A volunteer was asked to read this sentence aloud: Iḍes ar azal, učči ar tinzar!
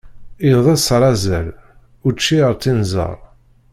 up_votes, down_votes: 1, 2